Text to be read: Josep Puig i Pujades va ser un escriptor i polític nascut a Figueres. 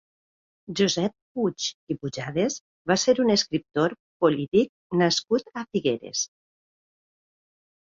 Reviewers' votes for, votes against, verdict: 2, 1, accepted